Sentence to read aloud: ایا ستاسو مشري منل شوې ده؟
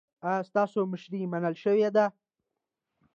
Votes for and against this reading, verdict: 2, 0, accepted